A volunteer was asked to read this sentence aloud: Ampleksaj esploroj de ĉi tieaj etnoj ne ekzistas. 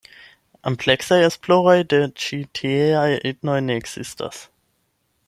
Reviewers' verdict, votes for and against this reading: accepted, 8, 0